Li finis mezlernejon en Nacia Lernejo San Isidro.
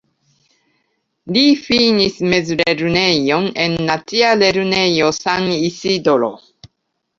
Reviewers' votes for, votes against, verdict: 2, 0, accepted